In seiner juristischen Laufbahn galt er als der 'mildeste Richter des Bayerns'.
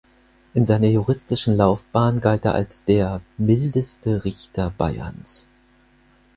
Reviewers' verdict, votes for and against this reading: rejected, 2, 4